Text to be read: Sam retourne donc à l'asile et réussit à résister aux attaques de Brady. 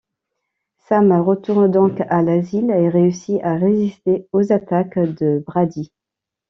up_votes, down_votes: 2, 0